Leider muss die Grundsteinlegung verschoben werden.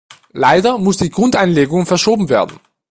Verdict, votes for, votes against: rejected, 0, 2